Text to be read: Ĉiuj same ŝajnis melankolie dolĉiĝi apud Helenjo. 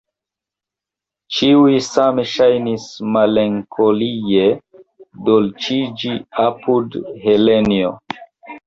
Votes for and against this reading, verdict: 0, 2, rejected